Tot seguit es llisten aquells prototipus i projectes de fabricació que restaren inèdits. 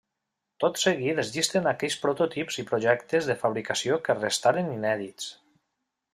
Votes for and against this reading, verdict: 1, 2, rejected